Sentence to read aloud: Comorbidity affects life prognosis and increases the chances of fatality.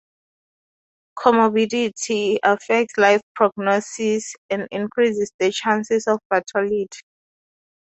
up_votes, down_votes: 2, 2